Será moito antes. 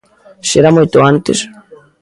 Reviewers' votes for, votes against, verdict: 0, 2, rejected